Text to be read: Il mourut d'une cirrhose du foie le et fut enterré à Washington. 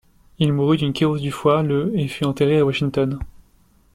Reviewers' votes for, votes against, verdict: 0, 2, rejected